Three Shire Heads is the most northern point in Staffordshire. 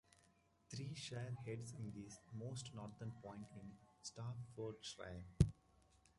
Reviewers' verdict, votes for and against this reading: rejected, 0, 2